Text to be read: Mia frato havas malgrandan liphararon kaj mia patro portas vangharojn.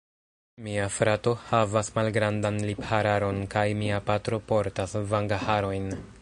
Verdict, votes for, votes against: rejected, 0, 2